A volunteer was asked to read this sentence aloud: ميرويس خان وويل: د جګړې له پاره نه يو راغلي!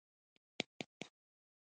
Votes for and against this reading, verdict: 0, 2, rejected